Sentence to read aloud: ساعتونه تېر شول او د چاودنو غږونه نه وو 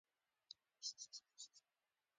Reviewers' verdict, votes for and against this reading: accepted, 2, 1